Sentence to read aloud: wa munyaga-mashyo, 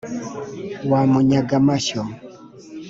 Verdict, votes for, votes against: accepted, 2, 0